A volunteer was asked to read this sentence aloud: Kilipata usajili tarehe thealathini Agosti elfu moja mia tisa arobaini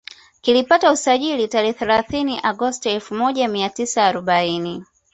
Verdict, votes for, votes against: accepted, 2, 0